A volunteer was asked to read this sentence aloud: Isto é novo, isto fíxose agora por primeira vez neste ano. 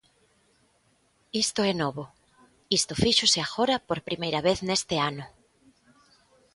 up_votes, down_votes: 2, 0